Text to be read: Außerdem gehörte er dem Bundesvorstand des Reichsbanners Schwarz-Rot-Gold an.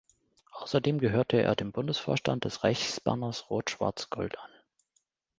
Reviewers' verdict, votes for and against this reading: rejected, 0, 2